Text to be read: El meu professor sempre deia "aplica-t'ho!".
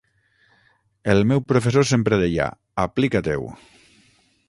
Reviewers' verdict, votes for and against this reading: rejected, 0, 6